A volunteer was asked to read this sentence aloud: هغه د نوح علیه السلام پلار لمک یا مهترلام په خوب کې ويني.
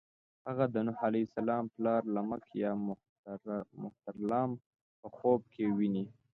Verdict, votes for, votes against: accepted, 2, 0